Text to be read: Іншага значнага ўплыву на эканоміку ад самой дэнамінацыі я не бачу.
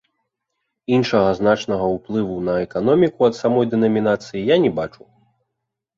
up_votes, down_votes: 0, 2